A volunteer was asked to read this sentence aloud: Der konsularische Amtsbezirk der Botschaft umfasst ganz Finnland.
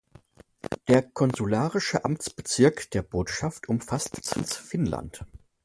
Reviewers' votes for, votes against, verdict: 1, 2, rejected